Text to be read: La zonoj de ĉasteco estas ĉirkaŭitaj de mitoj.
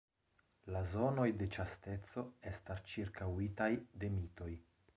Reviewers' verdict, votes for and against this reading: rejected, 1, 2